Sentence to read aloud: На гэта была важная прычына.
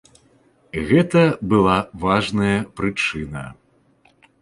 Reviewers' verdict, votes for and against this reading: rejected, 0, 2